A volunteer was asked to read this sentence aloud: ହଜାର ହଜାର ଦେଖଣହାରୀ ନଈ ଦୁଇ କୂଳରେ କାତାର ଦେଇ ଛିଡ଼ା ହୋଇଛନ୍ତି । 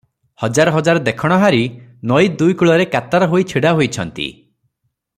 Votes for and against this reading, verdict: 0, 3, rejected